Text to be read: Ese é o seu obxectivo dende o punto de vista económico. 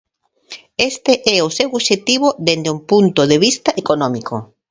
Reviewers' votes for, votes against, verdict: 1, 2, rejected